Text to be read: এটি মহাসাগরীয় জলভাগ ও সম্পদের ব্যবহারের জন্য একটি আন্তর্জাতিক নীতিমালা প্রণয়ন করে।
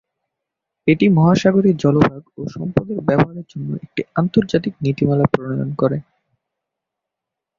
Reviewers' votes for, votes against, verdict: 2, 2, rejected